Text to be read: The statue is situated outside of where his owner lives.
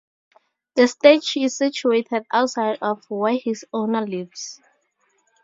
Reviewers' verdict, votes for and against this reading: accepted, 2, 0